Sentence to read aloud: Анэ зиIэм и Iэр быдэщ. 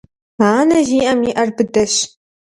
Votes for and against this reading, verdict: 2, 0, accepted